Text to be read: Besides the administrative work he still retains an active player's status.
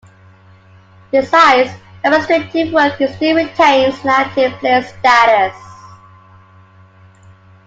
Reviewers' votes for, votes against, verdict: 1, 2, rejected